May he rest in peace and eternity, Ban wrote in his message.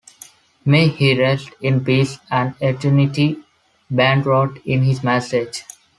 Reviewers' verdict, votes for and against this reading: accepted, 2, 0